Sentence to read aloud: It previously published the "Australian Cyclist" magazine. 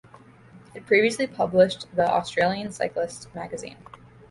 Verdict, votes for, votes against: accepted, 2, 0